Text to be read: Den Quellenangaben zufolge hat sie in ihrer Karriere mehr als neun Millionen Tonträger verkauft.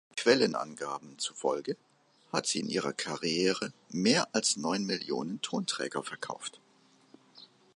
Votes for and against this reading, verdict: 1, 3, rejected